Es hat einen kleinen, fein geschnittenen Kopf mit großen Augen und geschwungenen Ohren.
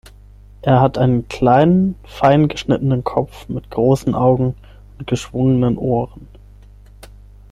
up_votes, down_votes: 3, 6